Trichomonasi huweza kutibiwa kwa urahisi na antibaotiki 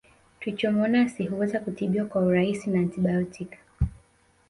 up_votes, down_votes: 2, 0